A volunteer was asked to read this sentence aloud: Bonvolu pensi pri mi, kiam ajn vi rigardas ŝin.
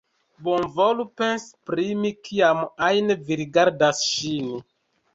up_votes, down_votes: 1, 2